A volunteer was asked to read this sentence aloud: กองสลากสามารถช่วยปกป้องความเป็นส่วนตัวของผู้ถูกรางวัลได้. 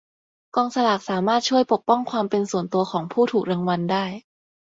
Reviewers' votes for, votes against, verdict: 4, 0, accepted